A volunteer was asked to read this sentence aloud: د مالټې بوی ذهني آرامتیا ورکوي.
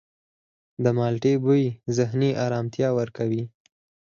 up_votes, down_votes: 2, 4